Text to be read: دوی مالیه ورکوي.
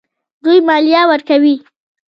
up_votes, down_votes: 1, 2